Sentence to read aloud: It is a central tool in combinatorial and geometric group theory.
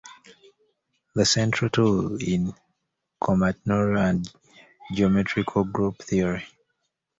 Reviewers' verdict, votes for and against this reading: rejected, 1, 2